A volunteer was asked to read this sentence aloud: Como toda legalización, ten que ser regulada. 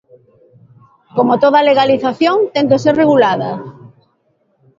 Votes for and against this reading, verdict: 3, 1, accepted